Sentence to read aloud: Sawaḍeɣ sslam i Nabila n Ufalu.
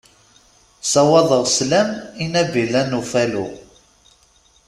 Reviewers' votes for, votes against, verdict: 2, 0, accepted